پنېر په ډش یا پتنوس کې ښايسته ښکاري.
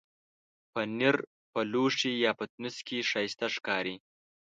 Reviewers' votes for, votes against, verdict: 1, 2, rejected